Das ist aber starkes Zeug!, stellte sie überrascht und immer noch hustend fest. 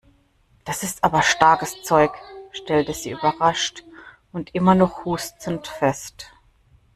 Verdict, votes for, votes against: rejected, 1, 2